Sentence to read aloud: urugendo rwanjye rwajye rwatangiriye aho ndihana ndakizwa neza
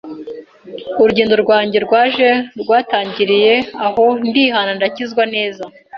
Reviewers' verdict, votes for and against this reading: accepted, 2, 0